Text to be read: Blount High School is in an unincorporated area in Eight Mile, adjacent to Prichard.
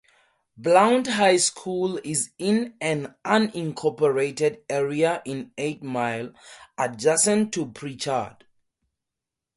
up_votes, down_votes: 2, 0